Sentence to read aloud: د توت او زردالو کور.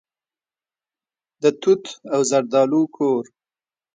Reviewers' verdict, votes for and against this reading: accepted, 2, 0